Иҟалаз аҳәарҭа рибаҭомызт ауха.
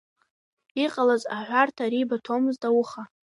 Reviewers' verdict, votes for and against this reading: accepted, 2, 1